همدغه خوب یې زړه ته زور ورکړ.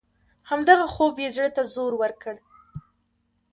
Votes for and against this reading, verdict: 2, 1, accepted